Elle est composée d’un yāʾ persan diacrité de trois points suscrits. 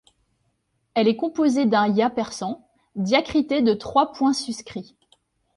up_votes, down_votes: 2, 0